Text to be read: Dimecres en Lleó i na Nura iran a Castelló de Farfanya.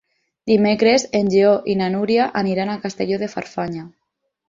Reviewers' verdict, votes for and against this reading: rejected, 2, 6